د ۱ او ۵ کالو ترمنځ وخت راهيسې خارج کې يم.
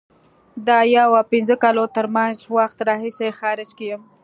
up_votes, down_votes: 0, 2